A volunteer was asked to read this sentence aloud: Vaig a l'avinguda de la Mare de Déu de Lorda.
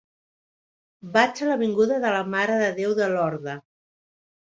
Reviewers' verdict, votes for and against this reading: accepted, 3, 0